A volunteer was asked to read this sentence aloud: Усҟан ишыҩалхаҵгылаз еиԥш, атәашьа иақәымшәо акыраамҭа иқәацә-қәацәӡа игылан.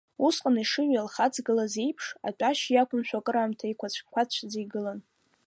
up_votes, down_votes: 2, 0